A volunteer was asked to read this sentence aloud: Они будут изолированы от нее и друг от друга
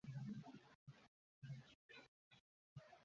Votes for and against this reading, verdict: 0, 2, rejected